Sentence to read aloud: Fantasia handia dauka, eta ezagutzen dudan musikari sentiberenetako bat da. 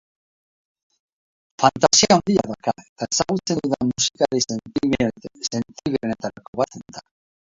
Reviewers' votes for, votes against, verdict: 0, 4, rejected